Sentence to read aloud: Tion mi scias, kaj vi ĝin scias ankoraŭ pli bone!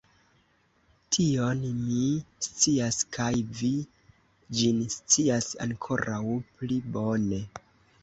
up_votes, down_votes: 2, 0